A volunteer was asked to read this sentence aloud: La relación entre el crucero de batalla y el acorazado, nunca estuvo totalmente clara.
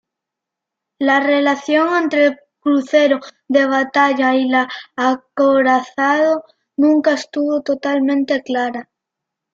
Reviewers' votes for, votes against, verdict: 0, 2, rejected